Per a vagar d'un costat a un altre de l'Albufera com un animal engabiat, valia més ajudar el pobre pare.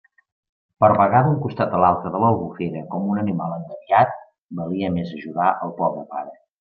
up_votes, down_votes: 2, 1